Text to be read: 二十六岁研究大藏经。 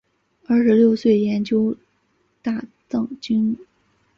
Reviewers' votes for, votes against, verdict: 4, 0, accepted